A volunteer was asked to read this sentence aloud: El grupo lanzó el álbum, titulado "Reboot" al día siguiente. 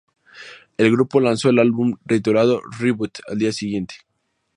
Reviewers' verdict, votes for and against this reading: accepted, 2, 0